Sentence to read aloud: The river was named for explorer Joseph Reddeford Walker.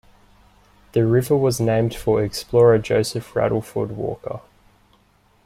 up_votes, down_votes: 2, 1